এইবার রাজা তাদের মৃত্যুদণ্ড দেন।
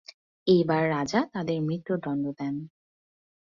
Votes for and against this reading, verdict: 2, 0, accepted